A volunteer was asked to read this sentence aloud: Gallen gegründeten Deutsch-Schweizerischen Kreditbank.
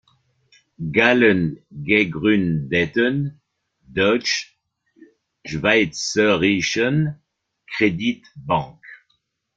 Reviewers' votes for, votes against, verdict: 1, 2, rejected